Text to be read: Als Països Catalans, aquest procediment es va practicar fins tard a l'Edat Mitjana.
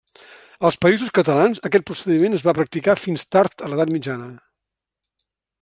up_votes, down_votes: 3, 0